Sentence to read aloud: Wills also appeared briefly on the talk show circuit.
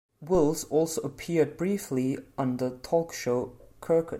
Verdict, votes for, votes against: rejected, 0, 2